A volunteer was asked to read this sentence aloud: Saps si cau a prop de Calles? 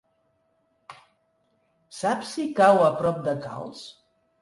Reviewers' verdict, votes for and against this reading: rejected, 1, 3